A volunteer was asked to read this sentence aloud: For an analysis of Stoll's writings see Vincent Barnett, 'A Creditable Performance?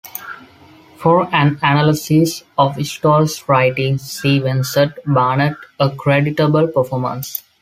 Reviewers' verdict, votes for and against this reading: accepted, 2, 0